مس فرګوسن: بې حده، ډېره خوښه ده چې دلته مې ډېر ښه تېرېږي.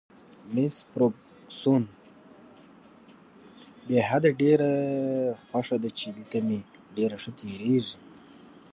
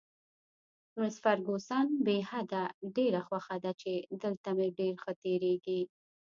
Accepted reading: first